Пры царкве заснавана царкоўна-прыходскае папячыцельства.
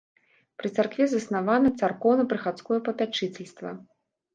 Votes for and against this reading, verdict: 0, 2, rejected